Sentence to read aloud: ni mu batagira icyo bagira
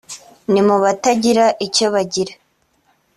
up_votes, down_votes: 2, 0